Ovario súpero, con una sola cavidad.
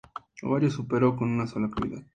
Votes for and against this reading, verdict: 2, 0, accepted